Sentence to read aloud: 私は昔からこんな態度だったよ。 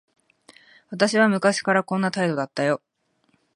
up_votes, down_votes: 2, 0